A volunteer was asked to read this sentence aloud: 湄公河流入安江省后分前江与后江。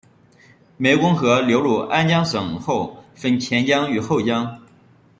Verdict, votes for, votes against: accepted, 2, 1